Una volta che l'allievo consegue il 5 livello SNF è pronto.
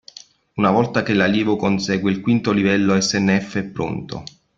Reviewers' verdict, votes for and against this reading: rejected, 0, 2